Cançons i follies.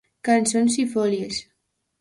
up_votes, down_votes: 0, 2